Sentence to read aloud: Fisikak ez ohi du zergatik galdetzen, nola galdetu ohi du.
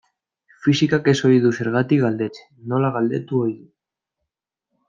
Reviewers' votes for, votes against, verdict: 2, 0, accepted